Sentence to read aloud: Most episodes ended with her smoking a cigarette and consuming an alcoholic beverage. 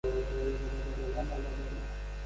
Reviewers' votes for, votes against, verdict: 0, 2, rejected